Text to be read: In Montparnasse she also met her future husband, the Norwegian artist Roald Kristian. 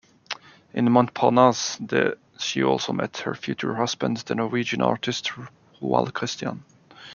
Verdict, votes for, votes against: rejected, 1, 2